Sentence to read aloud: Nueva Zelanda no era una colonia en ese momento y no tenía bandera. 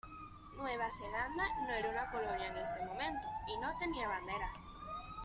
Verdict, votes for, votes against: rejected, 1, 2